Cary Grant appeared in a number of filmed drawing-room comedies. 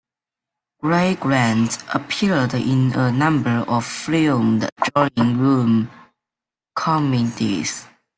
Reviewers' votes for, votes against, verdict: 2, 1, accepted